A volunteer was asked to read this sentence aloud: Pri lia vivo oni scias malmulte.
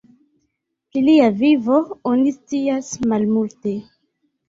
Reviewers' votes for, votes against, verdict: 0, 2, rejected